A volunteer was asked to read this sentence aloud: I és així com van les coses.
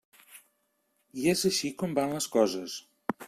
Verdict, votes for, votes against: accepted, 3, 0